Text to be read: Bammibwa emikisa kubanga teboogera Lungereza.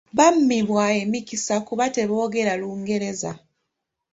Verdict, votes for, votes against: accepted, 2, 1